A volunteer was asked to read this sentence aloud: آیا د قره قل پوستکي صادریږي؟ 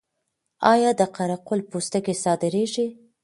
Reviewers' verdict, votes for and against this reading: accepted, 2, 1